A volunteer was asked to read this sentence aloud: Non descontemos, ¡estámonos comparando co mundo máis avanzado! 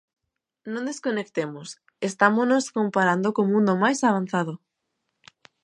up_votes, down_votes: 1, 2